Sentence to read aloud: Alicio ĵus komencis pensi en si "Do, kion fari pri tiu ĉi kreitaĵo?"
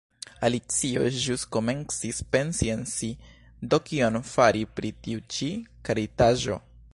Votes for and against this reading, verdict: 1, 2, rejected